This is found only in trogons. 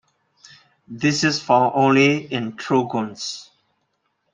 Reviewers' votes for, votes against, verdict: 2, 0, accepted